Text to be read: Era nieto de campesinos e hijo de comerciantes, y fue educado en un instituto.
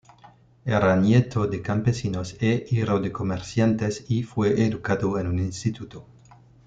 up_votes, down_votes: 1, 2